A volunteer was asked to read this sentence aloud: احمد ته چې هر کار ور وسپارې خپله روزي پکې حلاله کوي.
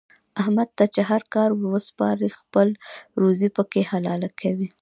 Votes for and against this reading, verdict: 1, 2, rejected